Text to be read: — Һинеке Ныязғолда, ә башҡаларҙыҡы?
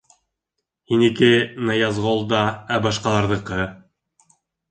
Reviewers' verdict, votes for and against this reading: accepted, 2, 0